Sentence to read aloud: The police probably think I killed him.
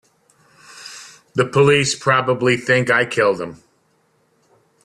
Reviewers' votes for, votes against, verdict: 2, 0, accepted